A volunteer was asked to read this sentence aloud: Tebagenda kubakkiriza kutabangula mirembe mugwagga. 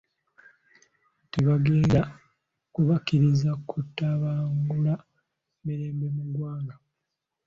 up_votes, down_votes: 2, 0